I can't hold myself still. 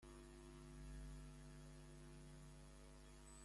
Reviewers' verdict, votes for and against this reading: rejected, 0, 2